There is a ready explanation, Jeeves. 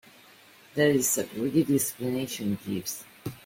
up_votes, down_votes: 0, 2